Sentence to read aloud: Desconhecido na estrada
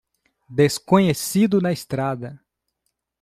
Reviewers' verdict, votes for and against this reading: accepted, 2, 0